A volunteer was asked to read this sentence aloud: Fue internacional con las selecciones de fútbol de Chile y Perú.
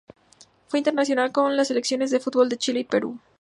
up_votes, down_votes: 2, 0